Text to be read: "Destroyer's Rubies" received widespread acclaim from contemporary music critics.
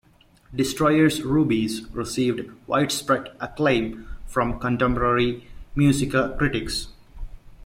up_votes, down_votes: 2, 1